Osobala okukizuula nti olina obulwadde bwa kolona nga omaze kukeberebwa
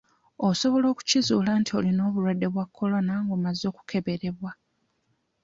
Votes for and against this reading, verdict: 1, 2, rejected